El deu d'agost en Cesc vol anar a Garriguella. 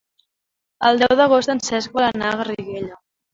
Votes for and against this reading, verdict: 3, 0, accepted